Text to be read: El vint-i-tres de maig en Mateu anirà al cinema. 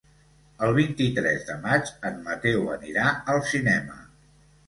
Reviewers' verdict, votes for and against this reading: accepted, 2, 0